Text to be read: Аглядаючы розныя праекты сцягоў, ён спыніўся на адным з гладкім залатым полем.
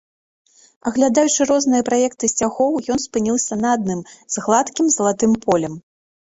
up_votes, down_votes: 2, 0